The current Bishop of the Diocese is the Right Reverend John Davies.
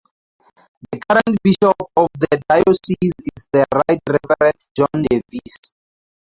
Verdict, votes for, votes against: rejected, 0, 4